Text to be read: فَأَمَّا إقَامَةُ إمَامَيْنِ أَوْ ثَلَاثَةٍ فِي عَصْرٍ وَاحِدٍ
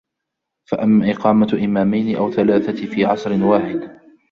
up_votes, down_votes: 2, 3